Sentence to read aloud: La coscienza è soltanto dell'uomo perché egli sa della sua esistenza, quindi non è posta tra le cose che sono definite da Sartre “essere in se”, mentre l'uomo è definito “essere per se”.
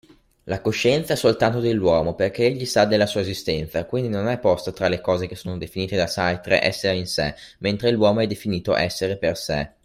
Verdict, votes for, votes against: accepted, 2, 0